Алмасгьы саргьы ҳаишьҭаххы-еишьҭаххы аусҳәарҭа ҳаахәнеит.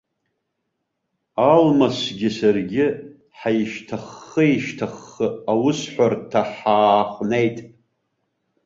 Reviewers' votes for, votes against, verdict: 1, 2, rejected